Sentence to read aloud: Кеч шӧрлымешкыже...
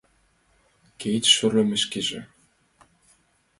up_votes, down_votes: 0, 2